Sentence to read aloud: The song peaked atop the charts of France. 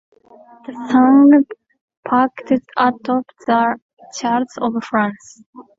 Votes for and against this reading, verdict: 0, 2, rejected